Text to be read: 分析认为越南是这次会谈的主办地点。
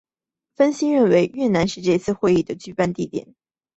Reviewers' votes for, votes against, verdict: 3, 0, accepted